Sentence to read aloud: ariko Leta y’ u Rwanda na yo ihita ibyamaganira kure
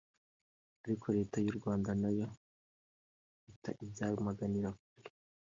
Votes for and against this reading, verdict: 2, 0, accepted